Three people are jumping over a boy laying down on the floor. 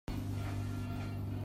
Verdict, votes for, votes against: rejected, 0, 2